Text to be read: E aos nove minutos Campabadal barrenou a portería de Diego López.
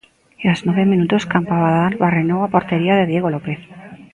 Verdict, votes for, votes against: accepted, 2, 0